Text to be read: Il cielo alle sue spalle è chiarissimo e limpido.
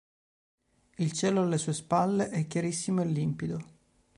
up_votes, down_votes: 2, 0